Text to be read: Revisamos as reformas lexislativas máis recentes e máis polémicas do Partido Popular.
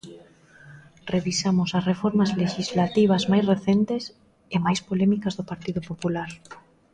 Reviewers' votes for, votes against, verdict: 1, 2, rejected